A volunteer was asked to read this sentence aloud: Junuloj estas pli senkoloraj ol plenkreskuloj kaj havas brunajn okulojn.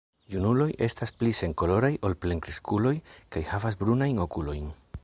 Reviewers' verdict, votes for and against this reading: rejected, 0, 2